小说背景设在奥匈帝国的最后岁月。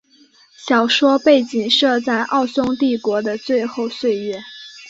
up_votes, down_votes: 2, 0